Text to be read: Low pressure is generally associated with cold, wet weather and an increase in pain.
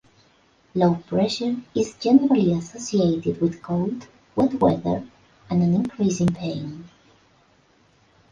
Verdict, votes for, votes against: accepted, 2, 0